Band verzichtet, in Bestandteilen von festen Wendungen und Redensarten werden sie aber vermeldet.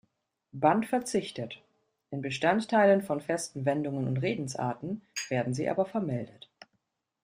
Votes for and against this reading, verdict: 2, 0, accepted